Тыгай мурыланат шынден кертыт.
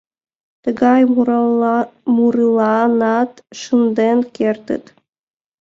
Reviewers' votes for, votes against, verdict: 1, 2, rejected